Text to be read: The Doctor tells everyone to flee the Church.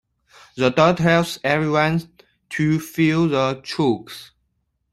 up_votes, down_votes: 0, 2